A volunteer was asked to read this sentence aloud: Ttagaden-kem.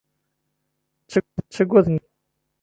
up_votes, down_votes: 0, 2